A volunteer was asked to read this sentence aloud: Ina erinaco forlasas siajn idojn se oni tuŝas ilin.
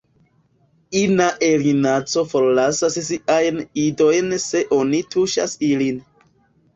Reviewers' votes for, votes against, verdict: 2, 0, accepted